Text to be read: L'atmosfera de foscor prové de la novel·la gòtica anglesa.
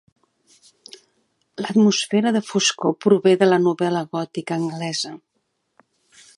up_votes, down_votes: 3, 0